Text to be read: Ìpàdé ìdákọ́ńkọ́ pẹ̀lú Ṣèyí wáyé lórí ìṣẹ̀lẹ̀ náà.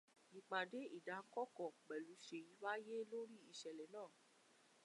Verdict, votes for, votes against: rejected, 0, 2